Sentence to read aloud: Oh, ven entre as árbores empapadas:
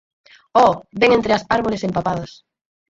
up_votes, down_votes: 2, 4